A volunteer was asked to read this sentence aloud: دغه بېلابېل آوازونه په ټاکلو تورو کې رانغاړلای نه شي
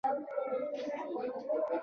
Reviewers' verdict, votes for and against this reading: rejected, 1, 2